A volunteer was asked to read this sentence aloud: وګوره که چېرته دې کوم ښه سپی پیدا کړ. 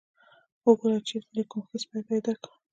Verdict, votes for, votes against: rejected, 1, 2